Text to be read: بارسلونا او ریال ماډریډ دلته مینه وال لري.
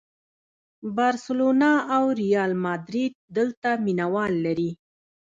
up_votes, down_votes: 1, 2